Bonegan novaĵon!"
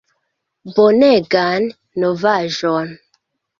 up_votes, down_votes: 2, 0